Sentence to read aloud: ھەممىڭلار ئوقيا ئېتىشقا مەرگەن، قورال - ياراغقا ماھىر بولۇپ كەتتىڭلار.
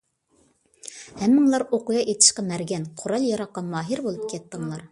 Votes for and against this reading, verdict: 2, 0, accepted